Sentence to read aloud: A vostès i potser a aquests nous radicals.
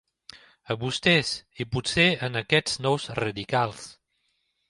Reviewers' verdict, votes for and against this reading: rejected, 1, 2